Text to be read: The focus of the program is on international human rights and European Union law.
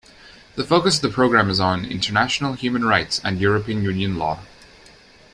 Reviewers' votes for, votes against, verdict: 2, 0, accepted